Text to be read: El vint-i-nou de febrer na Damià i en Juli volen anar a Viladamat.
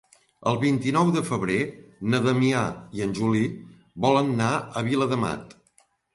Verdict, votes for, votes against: accepted, 2, 0